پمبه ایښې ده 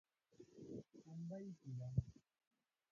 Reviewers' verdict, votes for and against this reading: rejected, 0, 2